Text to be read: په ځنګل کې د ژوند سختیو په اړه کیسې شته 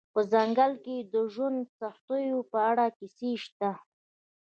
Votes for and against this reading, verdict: 2, 0, accepted